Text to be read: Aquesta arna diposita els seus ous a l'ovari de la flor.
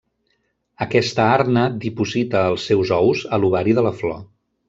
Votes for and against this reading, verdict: 3, 0, accepted